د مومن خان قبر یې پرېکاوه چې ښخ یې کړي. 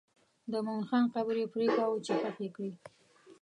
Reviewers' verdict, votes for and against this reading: rejected, 0, 2